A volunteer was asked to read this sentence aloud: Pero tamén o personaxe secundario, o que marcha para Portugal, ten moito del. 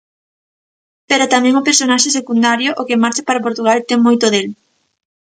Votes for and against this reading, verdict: 2, 0, accepted